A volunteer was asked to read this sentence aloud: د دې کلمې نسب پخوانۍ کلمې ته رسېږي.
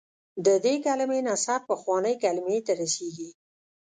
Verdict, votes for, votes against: rejected, 1, 2